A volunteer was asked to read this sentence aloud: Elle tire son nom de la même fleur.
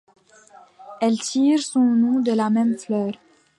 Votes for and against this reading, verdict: 2, 1, accepted